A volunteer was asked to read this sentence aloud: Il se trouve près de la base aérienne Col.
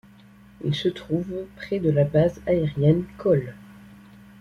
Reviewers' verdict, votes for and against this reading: accepted, 2, 0